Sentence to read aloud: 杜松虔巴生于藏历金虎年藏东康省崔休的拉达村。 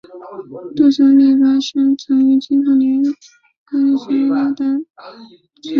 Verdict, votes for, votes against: rejected, 1, 5